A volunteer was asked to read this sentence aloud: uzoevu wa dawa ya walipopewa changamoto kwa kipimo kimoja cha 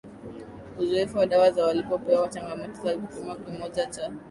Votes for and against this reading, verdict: 2, 0, accepted